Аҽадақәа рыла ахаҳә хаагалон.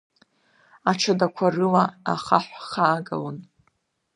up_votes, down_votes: 2, 0